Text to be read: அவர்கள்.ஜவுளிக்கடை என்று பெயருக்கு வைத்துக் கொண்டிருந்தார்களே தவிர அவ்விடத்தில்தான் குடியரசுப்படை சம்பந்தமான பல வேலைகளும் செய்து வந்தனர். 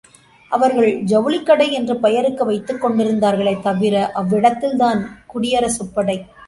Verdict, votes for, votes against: rejected, 0, 2